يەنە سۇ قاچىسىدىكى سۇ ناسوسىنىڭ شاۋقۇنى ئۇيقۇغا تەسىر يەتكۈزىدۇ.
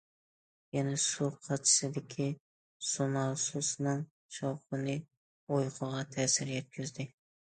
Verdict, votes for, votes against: rejected, 0, 2